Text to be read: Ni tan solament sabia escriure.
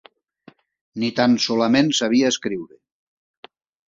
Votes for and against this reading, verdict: 4, 0, accepted